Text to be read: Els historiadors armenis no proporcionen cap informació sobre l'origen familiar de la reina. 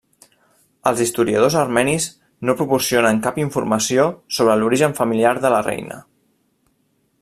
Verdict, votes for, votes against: rejected, 0, 2